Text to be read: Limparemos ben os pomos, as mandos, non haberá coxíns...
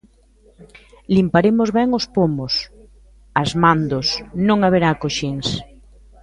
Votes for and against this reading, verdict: 1, 2, rejected